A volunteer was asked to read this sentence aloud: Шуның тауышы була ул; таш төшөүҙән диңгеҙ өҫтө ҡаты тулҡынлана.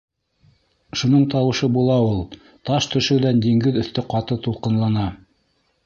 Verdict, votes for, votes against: accepted, 2, 0